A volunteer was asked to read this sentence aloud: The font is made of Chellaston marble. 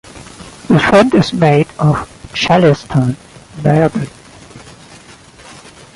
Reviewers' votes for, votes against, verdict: 1, 2, rejected